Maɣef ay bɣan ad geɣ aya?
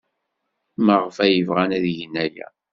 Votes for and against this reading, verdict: 1, 2, rejected